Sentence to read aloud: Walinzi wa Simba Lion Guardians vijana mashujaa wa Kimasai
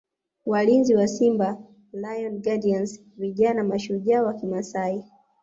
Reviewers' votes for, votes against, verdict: 2, 0, accepted